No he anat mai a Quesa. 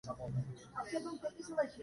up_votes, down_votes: 0, 2